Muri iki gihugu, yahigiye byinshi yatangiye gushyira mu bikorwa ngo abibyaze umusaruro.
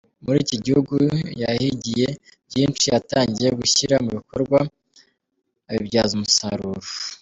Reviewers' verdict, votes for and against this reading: rejected, 0, 3